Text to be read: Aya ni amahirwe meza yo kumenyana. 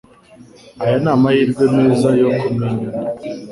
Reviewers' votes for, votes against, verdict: 2, 0, accepted